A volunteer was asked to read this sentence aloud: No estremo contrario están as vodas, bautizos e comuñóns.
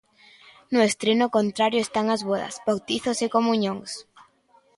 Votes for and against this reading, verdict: 0, 2, rejected